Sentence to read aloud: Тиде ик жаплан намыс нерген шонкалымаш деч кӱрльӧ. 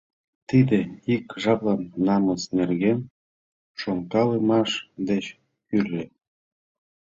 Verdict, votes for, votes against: accepted, 2, 0